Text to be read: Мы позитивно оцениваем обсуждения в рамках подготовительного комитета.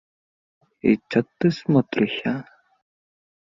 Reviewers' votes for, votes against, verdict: 0, 2, rejected